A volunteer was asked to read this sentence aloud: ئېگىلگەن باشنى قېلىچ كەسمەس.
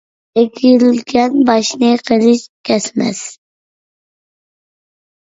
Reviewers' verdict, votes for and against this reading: rejected, 0, 2